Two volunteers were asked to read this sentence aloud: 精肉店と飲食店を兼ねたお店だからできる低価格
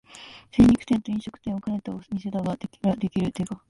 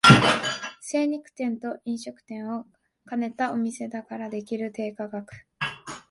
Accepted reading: second